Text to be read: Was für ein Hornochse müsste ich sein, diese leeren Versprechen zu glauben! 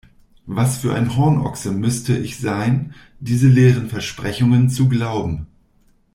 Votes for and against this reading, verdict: 0, 2, rejected